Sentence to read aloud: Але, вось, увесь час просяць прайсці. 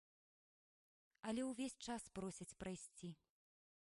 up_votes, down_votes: 0, 2